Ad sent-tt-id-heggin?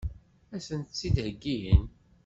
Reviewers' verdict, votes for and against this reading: accepted, 2, 0